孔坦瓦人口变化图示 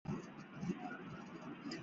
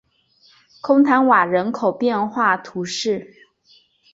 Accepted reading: second